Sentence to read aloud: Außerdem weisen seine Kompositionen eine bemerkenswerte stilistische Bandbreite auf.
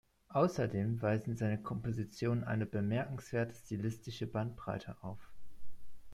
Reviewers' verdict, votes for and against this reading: rejected, 1, 2